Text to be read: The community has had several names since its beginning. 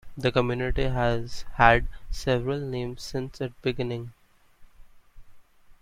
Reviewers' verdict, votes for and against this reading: accepted, 2, 0